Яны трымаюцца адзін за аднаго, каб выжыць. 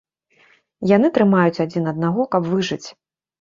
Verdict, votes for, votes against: rejected, 0, 2